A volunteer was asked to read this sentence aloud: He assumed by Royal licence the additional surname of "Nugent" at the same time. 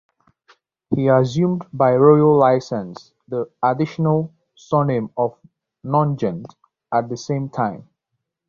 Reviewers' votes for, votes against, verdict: 0, 2, rejected